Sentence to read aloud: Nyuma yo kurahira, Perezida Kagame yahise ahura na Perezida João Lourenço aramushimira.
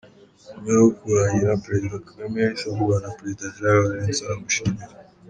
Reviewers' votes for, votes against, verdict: 1, 2, rejected